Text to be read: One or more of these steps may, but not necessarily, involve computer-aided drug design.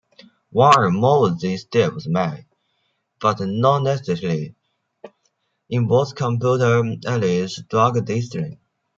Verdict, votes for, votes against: rejected, 0, 2